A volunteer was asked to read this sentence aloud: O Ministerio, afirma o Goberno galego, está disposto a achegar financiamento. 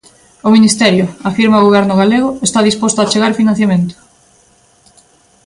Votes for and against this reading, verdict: 2, 0, accepted